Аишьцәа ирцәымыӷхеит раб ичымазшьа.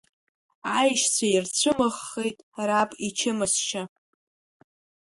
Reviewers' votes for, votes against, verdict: 2, 0, accepted